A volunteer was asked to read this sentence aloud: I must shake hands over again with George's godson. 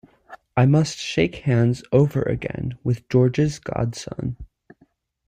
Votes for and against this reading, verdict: 2, 0, accepted